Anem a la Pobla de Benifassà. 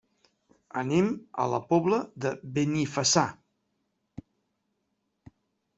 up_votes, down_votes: 1, 2